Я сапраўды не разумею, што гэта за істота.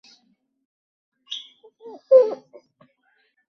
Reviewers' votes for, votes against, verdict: 0, 2, rejected